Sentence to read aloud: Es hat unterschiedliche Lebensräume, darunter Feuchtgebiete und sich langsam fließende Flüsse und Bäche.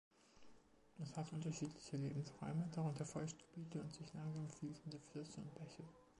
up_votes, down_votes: 0, 2